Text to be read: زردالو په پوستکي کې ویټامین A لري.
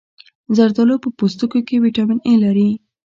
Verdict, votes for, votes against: rejected, 1, 2